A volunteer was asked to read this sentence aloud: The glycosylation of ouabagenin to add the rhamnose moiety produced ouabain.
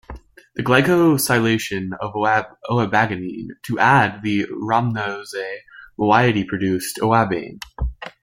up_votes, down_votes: 0, 2